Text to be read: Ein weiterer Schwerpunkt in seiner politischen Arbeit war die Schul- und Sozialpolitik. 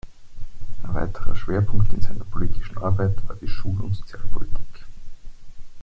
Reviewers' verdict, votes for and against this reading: accepted, 2, 0